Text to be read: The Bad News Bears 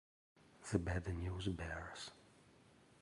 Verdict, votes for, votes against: rejected, 1, 2